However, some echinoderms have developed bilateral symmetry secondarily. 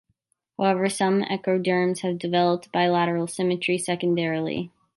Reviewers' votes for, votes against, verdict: 0, 2, rejected